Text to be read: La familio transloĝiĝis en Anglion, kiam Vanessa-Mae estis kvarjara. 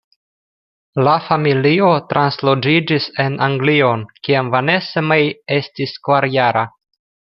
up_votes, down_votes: 2, 0